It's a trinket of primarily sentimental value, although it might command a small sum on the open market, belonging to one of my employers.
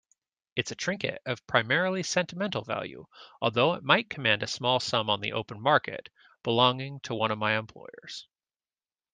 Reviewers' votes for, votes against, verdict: 2, 0, accepted